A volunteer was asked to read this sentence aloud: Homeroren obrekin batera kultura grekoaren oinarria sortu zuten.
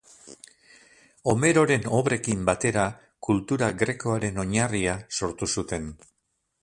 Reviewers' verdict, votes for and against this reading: rejected, 0, 4